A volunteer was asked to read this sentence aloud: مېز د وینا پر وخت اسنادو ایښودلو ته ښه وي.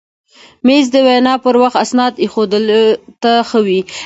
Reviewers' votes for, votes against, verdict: 1, 2, rejected